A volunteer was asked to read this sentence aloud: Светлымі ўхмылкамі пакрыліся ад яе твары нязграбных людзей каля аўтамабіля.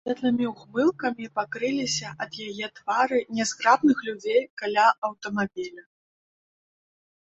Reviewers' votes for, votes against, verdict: 2, 1, accepted